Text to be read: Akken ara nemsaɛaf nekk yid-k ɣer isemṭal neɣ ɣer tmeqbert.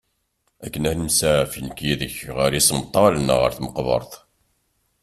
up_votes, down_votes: 2, 0